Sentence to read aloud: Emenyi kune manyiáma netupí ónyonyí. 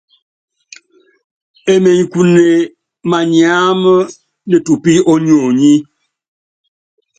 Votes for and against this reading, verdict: 2, 0, accepted